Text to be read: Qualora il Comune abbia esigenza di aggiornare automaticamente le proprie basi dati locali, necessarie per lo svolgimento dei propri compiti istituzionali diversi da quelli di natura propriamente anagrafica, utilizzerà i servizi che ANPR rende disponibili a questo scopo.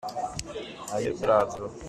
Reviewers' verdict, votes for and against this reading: rejected, 0, 2